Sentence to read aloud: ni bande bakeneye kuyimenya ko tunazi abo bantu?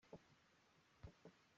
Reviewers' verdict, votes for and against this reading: rejected, 0, 2